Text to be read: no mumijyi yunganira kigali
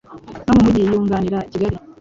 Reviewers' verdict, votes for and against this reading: rejected, 1, 3